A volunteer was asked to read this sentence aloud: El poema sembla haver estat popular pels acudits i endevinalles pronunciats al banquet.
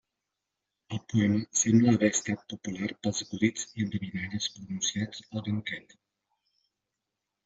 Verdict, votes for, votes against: accepted, 2, 1